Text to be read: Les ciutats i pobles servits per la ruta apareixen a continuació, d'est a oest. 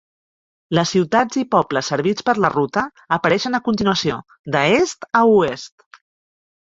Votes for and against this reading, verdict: 0, 2, rejected